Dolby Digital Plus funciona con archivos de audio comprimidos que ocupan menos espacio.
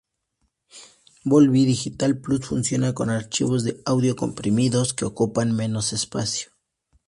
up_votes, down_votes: 2, 0